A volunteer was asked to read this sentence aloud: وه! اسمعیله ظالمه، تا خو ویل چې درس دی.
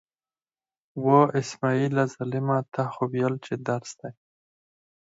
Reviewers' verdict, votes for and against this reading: rejected, 0, 4